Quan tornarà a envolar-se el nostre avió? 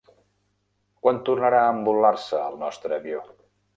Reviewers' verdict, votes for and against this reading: rejected, 0, 2